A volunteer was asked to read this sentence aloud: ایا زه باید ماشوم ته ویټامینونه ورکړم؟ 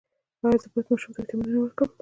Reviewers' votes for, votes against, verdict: 1, 2, rejected